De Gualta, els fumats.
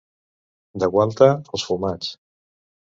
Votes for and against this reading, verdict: 2, 0, accepted